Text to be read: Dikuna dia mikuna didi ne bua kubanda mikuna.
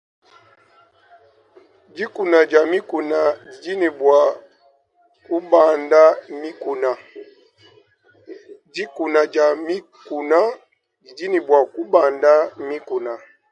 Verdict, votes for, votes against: rejected, 1, 2